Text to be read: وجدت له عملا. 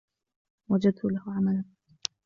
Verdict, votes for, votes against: rejected, 1, 2